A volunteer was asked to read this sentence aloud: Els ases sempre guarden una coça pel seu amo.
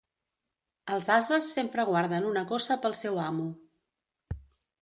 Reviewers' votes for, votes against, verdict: 2, 0, accepted